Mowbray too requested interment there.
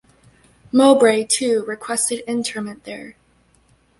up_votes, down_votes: 2, 1